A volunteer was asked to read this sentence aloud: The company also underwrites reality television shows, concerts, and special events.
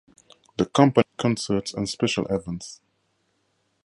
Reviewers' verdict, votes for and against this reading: rejected, 0, 2